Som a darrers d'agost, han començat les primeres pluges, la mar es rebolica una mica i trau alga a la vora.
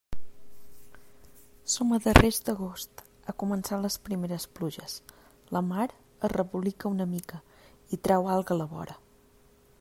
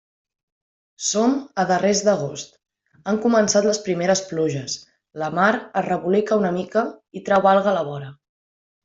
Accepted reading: second